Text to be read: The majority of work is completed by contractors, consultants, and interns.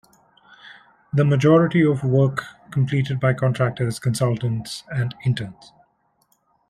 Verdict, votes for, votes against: rejected, 0, 2